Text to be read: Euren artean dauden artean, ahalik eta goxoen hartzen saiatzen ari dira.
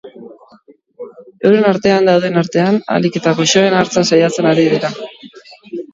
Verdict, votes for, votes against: rejected, 1, 2